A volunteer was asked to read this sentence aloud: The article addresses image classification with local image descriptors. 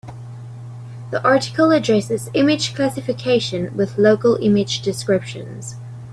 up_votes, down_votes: 0, 2